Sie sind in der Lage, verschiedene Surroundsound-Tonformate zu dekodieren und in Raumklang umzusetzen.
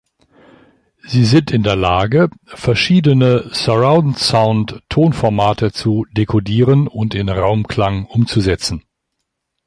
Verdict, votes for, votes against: accepted, 2, 0